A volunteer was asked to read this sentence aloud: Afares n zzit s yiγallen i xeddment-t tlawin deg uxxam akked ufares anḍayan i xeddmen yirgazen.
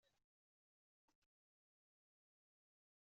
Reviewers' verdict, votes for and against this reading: rejected, 0, 2